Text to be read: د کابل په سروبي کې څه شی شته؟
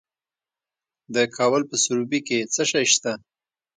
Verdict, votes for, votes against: accepted, 3, 0